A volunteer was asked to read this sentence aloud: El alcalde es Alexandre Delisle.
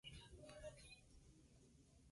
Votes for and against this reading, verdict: 2, 4, rejected